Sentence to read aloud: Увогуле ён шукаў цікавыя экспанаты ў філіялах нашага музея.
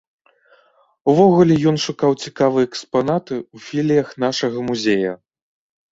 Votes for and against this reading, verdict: 0, 2, rejected